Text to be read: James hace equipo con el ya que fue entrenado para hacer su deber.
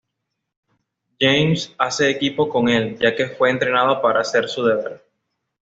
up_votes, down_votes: 2, 0